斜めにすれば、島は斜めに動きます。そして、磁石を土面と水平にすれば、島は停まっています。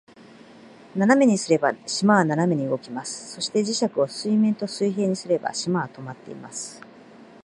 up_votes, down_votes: 5, 3